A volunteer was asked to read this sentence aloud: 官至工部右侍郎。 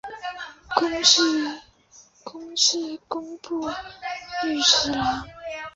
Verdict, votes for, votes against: rejected, 2, 3